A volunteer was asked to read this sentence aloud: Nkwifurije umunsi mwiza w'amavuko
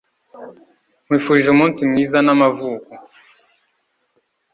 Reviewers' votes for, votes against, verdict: 1, 2, rejected